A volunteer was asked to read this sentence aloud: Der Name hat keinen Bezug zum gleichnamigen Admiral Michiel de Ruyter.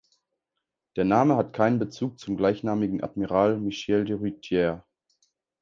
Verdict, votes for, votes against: rejected, 0, 2